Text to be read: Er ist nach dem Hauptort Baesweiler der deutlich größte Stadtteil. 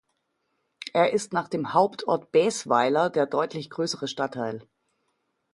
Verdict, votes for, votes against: rejected, 1, 2